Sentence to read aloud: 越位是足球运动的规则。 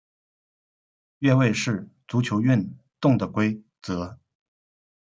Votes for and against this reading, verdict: 0, 2, rejected